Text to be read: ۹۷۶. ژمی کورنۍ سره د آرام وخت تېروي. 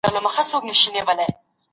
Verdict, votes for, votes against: rejected, 0, 2